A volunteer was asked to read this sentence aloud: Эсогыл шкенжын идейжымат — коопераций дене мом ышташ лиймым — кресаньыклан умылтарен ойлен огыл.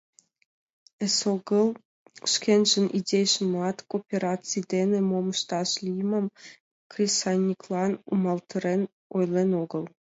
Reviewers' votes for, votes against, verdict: 2, 0, accepted